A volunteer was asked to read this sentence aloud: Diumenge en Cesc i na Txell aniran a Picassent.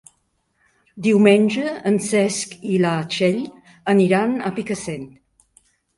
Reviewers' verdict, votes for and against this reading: accepted, 2, 0